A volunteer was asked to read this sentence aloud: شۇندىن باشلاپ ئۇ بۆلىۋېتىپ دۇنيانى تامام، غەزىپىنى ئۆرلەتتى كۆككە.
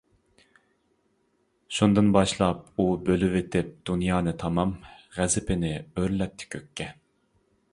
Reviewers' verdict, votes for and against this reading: accepted, 2, 0